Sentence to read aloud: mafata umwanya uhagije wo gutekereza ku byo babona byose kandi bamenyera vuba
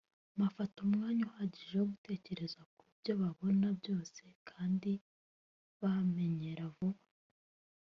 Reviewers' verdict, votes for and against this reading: rejected, 1, 2